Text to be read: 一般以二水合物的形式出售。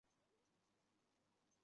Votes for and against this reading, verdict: 0, 3, rejected